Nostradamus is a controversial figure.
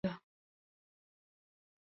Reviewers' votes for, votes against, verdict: 0, 2, rejected